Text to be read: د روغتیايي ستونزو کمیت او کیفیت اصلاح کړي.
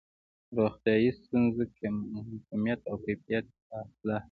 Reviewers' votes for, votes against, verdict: 0, 2, rejected